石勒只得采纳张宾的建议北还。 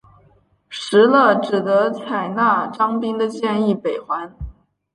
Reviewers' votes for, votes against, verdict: 3, 0, accepted